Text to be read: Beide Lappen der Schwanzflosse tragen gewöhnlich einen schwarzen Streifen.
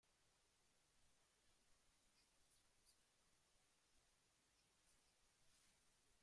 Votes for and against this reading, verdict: 0, 2, rejected